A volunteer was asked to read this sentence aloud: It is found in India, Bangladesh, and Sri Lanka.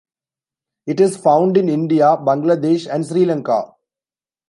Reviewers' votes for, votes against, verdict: 2, 0, accepted